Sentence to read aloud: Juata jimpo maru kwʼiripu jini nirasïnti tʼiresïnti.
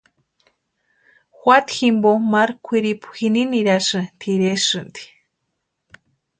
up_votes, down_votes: 0, 2